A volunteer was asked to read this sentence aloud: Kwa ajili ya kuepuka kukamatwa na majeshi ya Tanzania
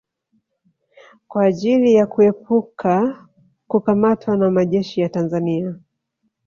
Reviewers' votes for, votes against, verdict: 1, 2, rejected